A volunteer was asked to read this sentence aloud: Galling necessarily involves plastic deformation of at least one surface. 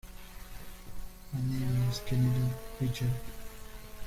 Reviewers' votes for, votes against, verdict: 0, 2, rejected